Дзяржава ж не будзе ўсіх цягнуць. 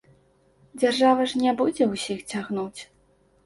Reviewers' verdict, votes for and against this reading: accepted, 2, 0